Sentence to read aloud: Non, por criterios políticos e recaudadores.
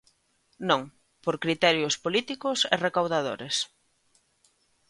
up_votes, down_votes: 2, 0